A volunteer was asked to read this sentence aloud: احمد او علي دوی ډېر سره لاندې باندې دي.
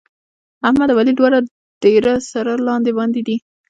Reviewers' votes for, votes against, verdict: 0, 2, rejected